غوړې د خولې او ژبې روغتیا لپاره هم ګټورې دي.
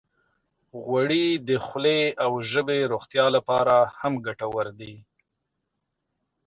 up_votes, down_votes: 2, 0